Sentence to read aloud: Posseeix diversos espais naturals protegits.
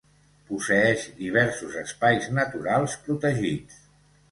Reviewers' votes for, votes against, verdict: 2, 0, accepted